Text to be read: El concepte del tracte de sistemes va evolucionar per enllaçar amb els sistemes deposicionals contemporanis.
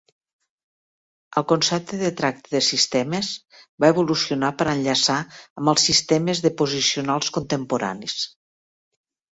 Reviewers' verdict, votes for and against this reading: accepted, 2, 1